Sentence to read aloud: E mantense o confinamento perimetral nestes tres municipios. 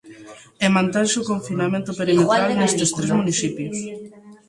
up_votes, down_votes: 0, 2